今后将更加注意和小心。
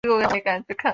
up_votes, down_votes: 0, 4